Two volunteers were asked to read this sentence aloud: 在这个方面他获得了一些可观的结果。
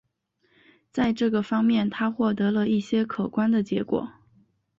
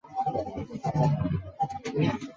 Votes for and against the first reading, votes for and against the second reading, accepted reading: 2, 0, 0, 2, first